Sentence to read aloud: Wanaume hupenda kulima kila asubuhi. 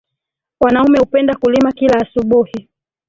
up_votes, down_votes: 3, 1